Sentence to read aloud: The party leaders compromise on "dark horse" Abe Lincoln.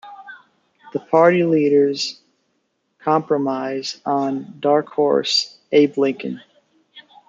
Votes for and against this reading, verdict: 2, 1, accepted